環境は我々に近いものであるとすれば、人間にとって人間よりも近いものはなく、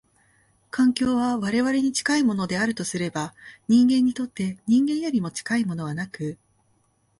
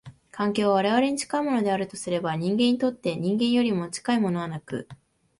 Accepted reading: second